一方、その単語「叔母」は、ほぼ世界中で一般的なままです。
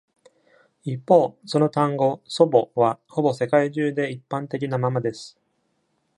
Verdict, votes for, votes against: rejected, 1, 2